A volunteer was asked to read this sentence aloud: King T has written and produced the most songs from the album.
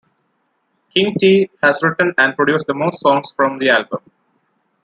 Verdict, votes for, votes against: accepted, 2, 0